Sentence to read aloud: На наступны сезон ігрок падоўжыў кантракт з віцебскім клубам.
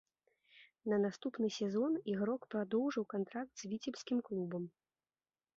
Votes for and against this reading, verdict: 0, 2, rejected